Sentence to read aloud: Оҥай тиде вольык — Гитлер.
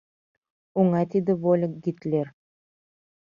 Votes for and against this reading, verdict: 2, 0, accepted